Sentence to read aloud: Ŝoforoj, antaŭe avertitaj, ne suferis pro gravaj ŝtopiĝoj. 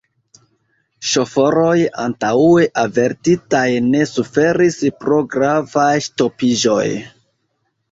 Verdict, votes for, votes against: accepted, 2, 1